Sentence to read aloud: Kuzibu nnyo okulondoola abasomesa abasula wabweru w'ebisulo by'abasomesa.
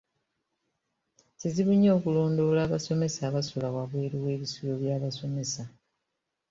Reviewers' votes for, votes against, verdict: 1, 2, rejected